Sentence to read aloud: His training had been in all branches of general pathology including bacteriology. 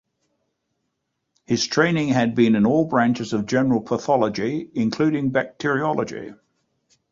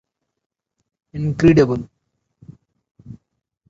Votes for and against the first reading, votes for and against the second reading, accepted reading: 2, 0, 0, 2, first